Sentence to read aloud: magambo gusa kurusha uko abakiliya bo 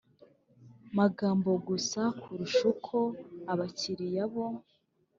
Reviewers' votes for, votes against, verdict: 2, 0, accepted